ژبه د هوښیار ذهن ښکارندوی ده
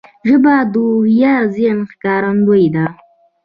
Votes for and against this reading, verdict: 1, 2, rejected